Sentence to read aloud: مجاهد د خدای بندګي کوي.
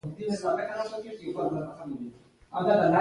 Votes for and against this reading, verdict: 1, 2, rejected